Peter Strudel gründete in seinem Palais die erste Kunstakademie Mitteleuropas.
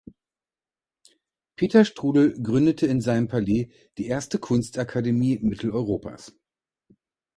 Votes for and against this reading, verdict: 2, 0, accepted